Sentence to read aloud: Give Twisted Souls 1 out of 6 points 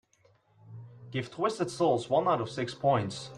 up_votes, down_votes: 0, 2